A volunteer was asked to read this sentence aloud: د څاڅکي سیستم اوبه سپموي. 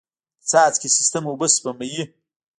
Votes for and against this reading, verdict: 1, 2, rejected